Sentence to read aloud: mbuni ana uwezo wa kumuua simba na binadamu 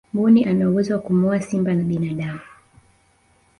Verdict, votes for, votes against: accepted, 4, 0